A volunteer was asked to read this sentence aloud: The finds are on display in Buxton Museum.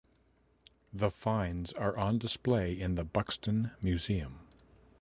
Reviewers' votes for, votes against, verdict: 1, 2, rejected